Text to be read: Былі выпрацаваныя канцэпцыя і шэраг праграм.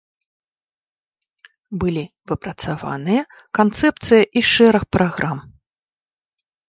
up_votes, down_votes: 1, 2